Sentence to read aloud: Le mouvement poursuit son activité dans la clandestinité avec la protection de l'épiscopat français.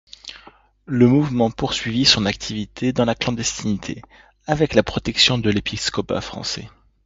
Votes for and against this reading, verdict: 0, 2, rejected